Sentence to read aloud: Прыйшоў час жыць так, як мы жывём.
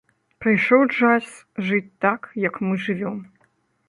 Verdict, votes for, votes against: accepted, 2, 0